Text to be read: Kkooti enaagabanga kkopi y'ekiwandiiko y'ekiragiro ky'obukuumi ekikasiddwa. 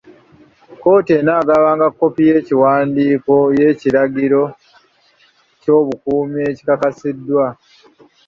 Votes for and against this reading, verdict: 2, 0, accepted